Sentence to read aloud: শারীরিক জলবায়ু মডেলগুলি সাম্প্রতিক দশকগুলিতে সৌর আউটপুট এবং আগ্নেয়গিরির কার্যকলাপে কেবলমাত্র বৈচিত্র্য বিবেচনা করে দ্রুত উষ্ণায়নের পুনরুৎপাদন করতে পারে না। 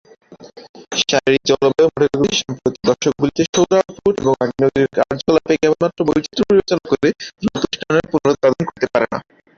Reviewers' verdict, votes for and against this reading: rejected, 0, 4